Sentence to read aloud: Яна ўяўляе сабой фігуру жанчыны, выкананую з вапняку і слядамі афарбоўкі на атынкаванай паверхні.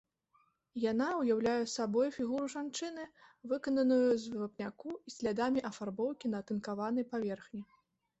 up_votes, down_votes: 2, 1